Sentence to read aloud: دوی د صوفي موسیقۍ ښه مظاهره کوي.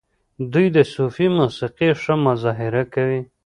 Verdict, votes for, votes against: rejected, 1, 2